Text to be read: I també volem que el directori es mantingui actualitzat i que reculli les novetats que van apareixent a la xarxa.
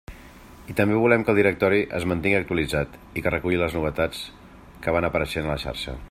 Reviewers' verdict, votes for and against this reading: accepted, 2, 0